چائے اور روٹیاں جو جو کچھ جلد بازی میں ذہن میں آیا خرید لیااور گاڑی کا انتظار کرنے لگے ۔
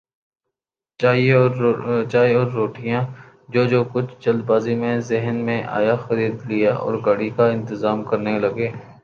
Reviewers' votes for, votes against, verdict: 8, 3, accepted